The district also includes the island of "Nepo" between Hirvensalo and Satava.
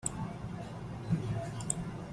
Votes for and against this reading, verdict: 0, 2, rejected